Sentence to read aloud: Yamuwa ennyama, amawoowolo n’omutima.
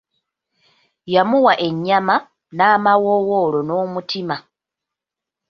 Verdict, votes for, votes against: rejected, 0, 2